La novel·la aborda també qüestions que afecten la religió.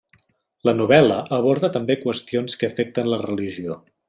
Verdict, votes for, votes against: accepted, 3, 0